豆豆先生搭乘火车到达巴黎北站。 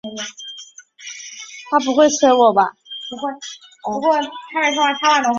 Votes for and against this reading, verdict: 0, 2, rejected